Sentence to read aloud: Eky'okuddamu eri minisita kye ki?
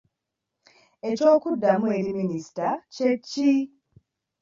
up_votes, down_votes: 2, 0